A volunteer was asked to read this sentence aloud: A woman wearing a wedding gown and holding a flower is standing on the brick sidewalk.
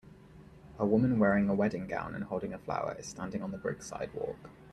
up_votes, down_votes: 2, 1